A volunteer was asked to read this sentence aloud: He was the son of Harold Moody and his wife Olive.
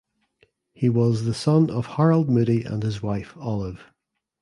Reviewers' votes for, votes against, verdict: 2, 0, accepted